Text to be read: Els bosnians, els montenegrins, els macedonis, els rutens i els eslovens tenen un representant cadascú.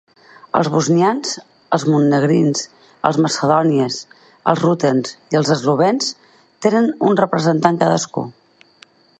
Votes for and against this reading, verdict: 0, 4, rejected